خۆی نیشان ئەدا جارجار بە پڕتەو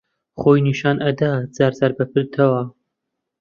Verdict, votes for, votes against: rejected, 1, 2